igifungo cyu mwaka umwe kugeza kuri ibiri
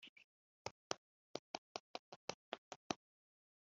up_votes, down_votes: 0, 2